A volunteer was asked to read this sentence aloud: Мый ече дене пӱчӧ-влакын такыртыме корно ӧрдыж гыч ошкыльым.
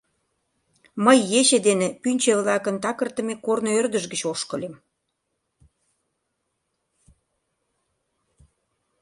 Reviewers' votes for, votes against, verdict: 0, 2, rejected